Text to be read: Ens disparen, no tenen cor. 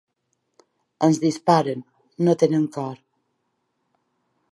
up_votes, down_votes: 2, 0